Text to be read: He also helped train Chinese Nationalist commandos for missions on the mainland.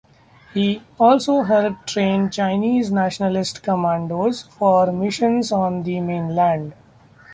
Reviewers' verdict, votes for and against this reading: accepted, 2, 0